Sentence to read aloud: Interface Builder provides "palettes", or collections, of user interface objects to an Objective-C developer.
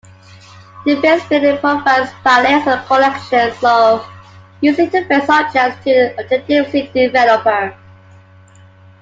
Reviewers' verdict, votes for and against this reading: rejected, 0, 2